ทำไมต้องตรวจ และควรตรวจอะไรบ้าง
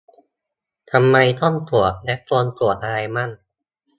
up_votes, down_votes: 2, 1